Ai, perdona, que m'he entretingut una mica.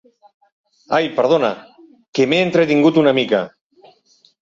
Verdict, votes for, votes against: accepted, 3, 0